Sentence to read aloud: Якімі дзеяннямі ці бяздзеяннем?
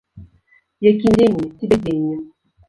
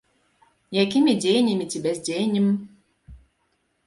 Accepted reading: second